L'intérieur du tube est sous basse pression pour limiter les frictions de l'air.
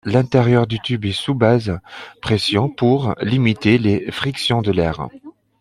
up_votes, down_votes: 0, 2